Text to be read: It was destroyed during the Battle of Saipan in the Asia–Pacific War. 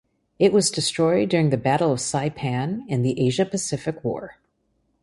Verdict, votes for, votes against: accepted, 2, 0